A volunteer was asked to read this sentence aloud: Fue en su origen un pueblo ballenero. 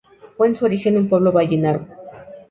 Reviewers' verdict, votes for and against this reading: rejected, 0, 2